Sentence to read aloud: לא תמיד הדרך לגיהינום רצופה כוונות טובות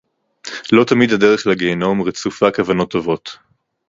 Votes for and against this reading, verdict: 2, 0, accepted